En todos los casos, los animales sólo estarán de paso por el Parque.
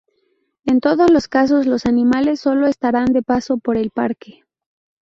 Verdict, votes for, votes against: accepted, 2, 0